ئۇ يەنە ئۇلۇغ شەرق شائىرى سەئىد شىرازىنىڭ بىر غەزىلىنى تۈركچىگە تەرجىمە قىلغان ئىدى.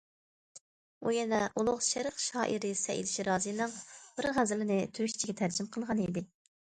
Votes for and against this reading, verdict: 2, 0, accepted